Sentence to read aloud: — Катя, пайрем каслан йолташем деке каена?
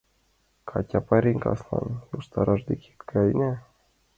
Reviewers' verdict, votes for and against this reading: rejected, 1, 2